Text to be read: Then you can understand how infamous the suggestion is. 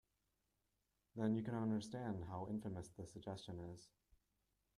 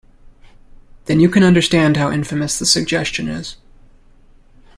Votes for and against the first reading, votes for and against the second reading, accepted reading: 1, 2, 2, 0, second